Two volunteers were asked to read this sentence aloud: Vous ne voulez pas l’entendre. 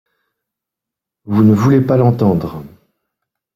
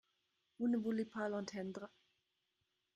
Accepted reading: first